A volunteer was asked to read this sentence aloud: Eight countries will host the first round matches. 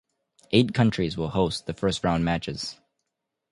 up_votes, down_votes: 2, 0